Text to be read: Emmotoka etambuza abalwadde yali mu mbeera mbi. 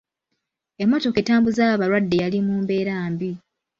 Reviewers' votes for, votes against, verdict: 2, 0, accepted